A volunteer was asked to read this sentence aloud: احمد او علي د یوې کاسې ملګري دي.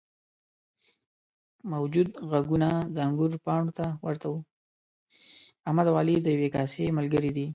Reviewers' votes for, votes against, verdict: 1, 2, rejected